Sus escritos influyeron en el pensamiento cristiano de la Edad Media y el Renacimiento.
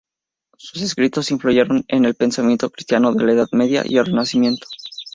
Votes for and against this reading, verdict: 0, 2, rejected